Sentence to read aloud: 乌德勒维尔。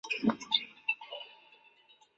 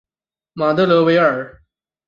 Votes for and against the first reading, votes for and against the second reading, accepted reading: 4, 6, 2, 0, second